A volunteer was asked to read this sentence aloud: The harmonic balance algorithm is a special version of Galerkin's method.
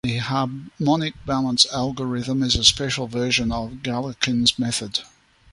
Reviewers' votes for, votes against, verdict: 1, 2, rejected